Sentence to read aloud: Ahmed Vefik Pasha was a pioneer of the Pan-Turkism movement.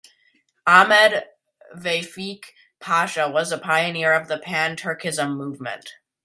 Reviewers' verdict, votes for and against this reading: accepted, 2, 0